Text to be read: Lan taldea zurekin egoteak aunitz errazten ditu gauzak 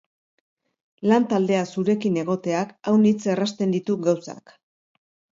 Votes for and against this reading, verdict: 2, 0, accepted